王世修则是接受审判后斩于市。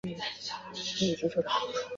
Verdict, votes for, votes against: rejected, 0, 3